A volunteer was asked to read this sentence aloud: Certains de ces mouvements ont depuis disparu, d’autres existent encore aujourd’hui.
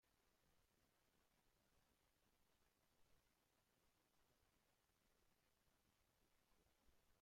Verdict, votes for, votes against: rejected, 0, 2